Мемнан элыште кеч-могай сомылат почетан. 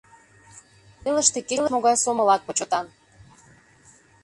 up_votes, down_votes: 0, 2